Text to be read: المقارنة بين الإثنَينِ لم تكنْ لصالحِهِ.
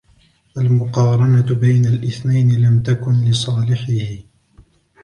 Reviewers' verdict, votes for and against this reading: accepted, 2, 0